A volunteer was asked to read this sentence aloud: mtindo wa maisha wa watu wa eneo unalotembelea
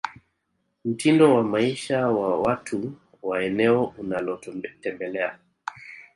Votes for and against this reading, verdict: 2, 0, accepted